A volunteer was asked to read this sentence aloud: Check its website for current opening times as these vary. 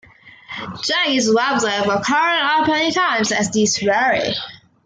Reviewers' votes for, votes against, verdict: 0, 2, rejected